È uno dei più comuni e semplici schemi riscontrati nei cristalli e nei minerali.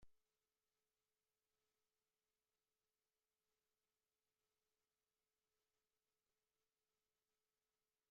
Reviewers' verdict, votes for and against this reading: rejected, 0, 2